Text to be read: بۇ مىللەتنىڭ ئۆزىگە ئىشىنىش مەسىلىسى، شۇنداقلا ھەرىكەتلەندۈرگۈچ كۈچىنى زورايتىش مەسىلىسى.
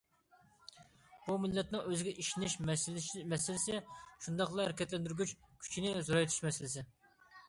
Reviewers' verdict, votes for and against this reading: rejected, 0, 2